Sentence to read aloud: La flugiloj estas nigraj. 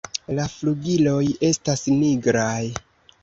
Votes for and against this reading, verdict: 2, 0, accepted